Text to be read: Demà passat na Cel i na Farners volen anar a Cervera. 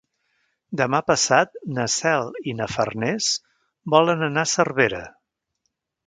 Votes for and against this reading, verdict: 3, 0, accepted